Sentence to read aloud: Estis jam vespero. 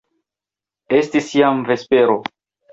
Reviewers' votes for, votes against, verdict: 2, 0, accepted